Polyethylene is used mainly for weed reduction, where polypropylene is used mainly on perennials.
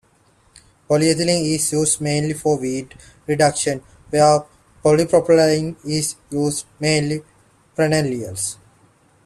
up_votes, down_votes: 0, 2